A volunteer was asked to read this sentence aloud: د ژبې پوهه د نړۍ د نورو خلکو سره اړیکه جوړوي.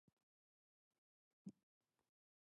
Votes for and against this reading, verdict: 0, 6, rejected